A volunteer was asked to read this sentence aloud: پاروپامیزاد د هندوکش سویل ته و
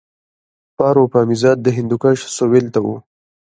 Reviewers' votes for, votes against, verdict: 0, 2, rejected